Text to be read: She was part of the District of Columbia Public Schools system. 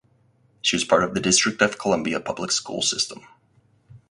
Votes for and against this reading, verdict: 4, 0, accepted